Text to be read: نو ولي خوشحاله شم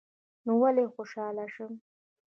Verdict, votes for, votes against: rejected, 1, 2